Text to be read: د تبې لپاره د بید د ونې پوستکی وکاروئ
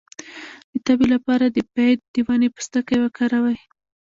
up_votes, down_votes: 0, 2